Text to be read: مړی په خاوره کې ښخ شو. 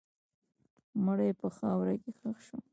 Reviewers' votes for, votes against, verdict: 0, 2, rejected